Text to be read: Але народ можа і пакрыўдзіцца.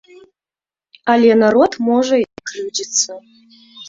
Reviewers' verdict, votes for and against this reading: rejected, 1, 2